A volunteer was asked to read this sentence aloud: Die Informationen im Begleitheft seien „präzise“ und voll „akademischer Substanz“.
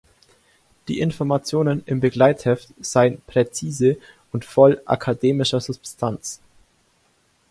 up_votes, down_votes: 2, 0